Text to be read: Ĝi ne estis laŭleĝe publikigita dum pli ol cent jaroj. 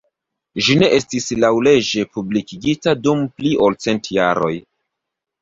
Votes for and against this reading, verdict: 2, 1, accepted